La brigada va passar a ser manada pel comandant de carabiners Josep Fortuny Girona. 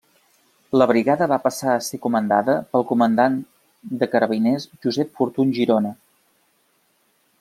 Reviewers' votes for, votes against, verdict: 0, 2, rejected